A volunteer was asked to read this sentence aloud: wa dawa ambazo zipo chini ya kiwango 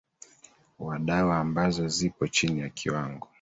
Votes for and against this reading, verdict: 2, 1, accepted